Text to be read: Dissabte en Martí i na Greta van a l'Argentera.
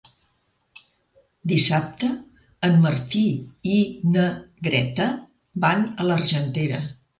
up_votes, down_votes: 3, 0